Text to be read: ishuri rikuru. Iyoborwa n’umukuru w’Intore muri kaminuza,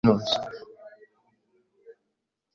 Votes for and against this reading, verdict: 1, 2, rejected